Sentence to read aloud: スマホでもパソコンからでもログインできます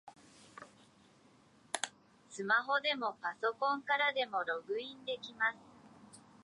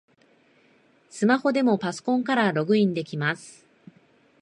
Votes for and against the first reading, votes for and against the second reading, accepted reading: 2, 1, 0, 2, first